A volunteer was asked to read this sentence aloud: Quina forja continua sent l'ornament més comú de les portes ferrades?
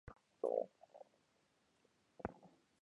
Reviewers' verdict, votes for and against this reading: rejected, 0, 3